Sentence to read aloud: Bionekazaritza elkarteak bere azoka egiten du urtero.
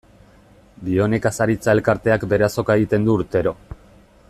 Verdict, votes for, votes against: accepted, 2, 0